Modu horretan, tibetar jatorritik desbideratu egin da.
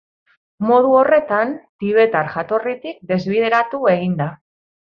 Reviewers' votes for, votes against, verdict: 2, 0, accepted